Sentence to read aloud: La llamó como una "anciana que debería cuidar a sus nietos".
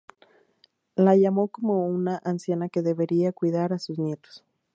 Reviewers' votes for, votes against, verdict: 2, 0, accepted